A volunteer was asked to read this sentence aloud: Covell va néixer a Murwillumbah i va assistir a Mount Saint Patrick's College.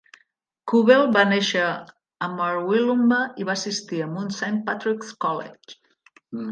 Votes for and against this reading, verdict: 0, 2, rejected